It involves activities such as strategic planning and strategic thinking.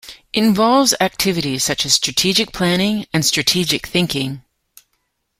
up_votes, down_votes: 0, 2